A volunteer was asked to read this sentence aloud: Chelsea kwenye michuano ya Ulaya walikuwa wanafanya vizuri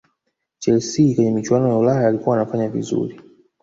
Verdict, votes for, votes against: rejected, 1, 2